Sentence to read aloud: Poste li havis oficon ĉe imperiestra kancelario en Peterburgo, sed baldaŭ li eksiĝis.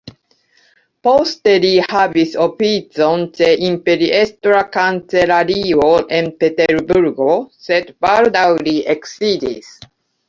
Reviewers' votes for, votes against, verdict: 1, 2, rejected